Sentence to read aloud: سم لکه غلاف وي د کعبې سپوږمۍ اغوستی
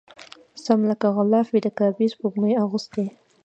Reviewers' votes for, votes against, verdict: 2, 0, accepted